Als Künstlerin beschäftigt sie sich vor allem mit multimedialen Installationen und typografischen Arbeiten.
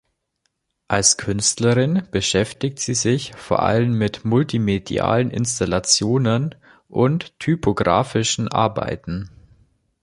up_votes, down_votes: 2, 0